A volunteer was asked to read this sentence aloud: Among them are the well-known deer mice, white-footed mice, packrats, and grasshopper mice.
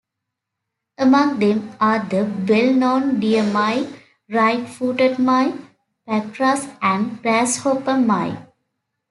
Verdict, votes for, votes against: rejected, 1, 2